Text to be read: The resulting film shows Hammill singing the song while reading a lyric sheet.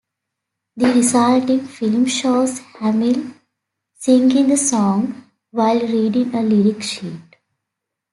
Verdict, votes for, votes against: accepted, 2, 1